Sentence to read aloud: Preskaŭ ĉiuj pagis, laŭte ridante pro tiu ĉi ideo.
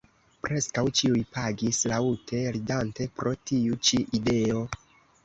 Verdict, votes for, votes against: rejected, 2, 3